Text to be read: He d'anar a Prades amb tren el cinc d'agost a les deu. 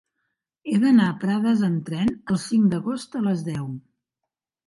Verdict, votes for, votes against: accepted, 5, 0